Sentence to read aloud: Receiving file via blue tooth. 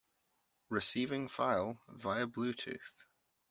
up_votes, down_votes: 2, 0